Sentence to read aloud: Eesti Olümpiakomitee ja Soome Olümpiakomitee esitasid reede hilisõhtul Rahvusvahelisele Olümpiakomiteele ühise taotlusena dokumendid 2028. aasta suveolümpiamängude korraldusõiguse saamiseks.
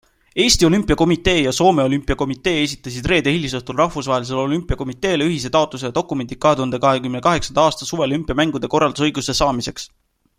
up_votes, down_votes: 0, 2